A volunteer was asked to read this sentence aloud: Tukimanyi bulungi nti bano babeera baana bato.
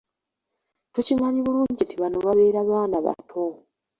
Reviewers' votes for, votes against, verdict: 2, 0, accepted